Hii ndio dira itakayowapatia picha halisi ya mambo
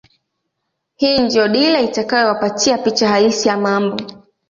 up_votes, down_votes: 2, 0